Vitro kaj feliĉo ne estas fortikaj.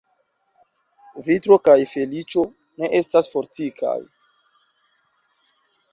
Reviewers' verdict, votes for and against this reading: accepted, 2, 0